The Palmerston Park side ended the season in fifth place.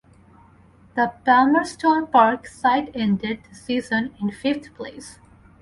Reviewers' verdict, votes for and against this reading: accepted, 10, 4